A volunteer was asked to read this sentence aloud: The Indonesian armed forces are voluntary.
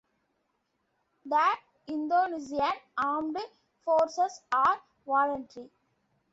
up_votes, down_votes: 2, 1